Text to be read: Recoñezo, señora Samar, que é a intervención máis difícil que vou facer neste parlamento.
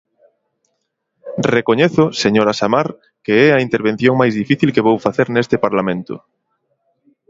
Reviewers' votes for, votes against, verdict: 2, 0, accepted